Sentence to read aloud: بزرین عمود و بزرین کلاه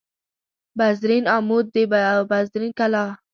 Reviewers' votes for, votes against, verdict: 0, 2, rejected